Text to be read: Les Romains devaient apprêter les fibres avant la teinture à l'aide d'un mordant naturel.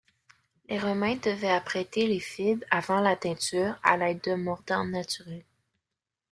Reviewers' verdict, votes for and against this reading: accepted, 2, 0